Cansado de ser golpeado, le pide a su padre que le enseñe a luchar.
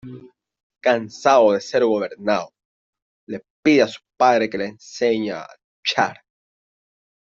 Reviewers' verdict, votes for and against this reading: rejected, 0, 2